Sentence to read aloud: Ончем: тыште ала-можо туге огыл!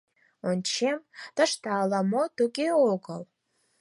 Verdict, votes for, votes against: rejected, 2, 4